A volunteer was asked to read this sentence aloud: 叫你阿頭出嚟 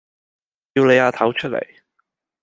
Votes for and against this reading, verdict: 2, 0, accepted